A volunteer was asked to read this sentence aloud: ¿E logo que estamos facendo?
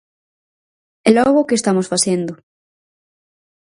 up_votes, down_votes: 6, 0